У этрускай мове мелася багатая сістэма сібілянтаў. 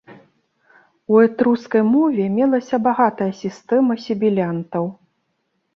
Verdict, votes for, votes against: accepted, 2, 0